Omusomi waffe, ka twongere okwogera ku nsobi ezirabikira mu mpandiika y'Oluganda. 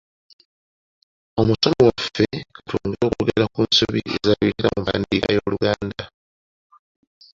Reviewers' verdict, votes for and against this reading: accepted, 2, 1